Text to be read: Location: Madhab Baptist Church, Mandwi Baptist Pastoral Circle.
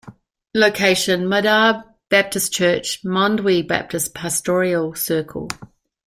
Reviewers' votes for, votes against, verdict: 2, 0, accepted